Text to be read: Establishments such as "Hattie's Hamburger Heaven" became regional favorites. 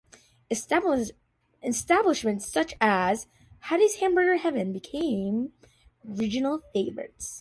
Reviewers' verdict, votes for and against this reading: rejected, 0, 2